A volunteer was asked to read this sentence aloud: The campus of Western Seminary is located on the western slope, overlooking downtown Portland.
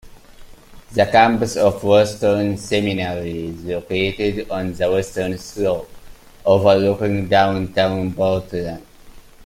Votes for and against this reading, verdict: 0, 2, rejected